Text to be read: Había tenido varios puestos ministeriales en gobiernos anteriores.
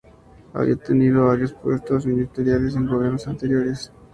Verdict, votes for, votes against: accepted, 2, 0